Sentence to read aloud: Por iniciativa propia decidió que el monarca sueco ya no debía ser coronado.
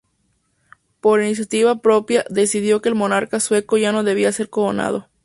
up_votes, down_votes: 2, 0